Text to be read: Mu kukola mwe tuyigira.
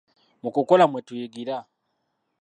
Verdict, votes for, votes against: rejected, 0, 2